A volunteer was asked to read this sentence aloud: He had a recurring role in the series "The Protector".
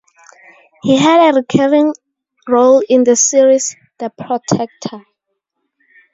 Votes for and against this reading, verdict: 2, 2, rejected